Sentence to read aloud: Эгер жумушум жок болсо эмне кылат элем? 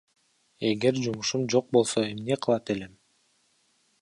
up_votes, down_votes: 2, 1